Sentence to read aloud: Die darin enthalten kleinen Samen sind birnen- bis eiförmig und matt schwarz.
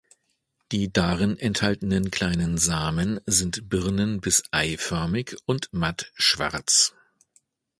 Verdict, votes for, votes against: rejected, 1, 2